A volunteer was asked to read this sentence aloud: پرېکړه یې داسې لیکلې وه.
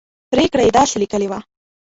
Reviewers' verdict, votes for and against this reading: rejected, 0, 2